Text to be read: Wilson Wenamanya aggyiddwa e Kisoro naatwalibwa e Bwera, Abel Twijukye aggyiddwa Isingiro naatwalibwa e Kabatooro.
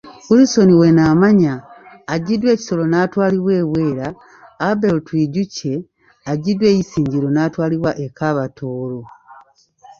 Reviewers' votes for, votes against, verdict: 1, 2, rejected